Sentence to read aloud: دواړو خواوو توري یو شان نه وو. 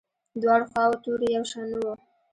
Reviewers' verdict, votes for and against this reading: rejected, 1, 2